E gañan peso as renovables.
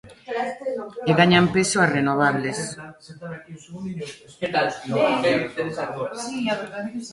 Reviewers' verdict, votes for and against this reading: rejected, 0, 2